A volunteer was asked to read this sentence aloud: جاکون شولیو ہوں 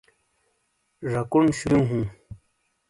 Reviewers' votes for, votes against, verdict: 0, 2, rejected